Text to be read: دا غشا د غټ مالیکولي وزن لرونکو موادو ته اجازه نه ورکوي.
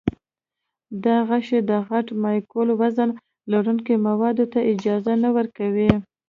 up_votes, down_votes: 2, 0